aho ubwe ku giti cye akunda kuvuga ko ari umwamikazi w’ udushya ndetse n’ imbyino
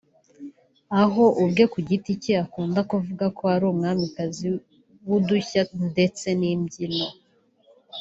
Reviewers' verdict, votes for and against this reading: rejected, 1, 2